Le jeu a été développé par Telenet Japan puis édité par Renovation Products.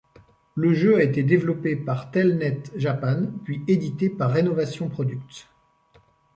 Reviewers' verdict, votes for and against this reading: rejected, 1, 2